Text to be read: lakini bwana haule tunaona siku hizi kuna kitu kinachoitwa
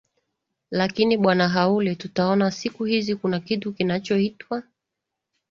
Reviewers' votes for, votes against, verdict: 2, 0, accepted